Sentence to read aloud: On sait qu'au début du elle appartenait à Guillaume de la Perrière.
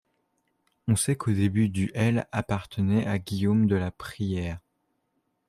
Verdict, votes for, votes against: rejected, 0, 2